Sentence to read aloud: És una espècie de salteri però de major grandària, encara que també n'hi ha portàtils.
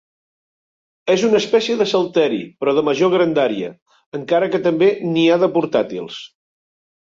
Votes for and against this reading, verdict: 2, 3, rejected